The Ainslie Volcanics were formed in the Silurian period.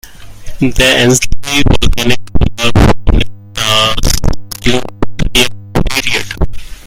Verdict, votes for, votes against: rejected, 0, 2